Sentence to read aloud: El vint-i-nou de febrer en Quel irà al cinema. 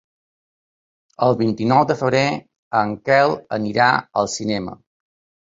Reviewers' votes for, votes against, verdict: 1, 2, rejected